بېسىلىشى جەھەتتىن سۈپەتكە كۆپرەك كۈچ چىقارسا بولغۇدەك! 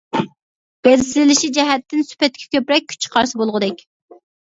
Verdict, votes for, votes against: rejected, 0, 2